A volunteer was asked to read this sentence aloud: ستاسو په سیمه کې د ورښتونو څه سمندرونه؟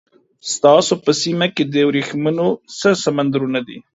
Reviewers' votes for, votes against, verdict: 1, 2, rejected